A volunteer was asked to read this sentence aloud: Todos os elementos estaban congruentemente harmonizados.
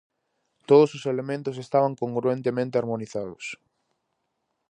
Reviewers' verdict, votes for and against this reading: accepted, 4, 0